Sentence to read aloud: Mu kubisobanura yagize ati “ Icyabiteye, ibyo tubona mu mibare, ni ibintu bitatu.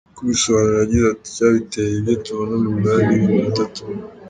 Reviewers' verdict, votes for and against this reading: accepted, 2, 0